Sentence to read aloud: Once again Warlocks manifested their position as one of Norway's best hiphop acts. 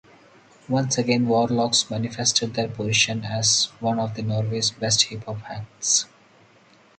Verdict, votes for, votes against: rejected, 2, 2